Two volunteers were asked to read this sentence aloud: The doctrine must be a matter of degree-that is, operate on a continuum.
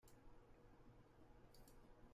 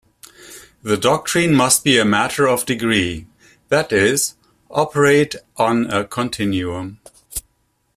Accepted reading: second